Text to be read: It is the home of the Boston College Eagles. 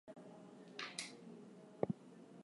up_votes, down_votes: 0, 4